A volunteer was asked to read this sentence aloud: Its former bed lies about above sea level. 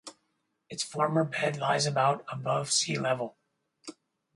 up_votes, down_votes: 4, 2